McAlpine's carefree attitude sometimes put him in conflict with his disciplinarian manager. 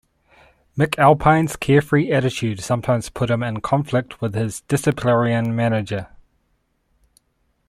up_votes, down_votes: 1, 2